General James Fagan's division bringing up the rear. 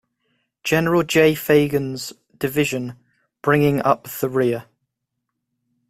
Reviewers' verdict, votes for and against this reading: rejected, 0, 2